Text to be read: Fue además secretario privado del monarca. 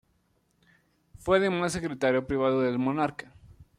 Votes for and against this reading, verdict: 2, 0, accepted